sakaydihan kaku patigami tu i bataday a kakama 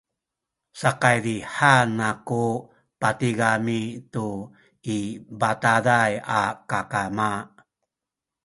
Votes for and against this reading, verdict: 2, 1, accepted